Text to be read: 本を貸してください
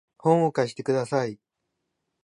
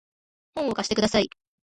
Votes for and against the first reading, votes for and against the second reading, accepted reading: 2, 2, 2, 0, second